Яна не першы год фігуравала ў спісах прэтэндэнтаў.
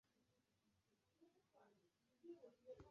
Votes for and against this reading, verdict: 1, 2, rejected